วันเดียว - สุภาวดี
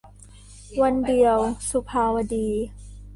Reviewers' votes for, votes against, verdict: 2, 0, accepted